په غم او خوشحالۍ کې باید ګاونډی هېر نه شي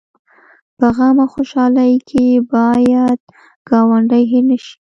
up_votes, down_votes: 2, 0